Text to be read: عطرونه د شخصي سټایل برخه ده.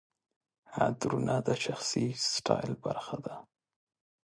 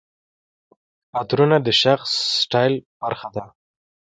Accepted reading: first